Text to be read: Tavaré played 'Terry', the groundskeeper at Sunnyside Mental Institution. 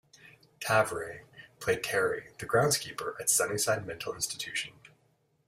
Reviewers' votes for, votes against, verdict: 1, 2, rejected